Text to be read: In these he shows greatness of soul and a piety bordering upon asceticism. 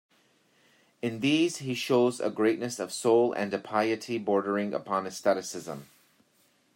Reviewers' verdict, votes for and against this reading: rejected, 1, 3